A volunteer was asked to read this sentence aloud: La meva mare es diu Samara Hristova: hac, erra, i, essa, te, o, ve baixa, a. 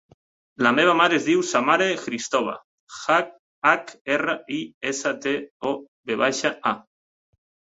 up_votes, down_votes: 1, 2